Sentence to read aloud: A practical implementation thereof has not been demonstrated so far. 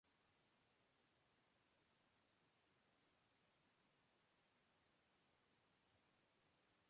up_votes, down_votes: 0, 2